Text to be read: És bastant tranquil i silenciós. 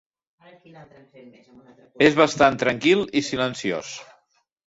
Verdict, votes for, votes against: rejected, 1, 2